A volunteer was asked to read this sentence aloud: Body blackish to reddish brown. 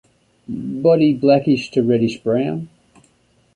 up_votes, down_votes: 2, 0